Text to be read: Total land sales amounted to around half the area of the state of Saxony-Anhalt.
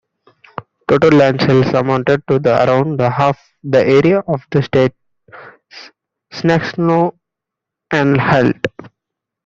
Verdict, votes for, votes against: rejected, 0, 2